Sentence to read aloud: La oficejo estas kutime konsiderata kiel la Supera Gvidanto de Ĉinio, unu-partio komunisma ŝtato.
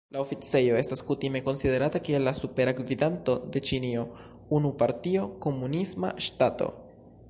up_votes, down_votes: 3, 1